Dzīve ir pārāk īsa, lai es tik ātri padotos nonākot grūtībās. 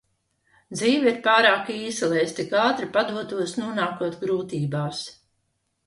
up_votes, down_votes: 2, 0